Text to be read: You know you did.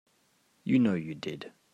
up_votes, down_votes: 4, 0